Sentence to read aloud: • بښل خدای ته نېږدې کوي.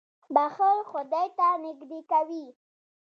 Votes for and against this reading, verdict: 2, 0, accepted